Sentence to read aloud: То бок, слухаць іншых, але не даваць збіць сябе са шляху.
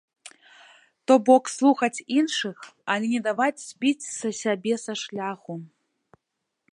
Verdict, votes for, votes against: rejected, 1, 2